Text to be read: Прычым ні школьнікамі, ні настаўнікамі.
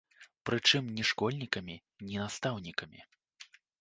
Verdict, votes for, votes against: rejected, 1, 2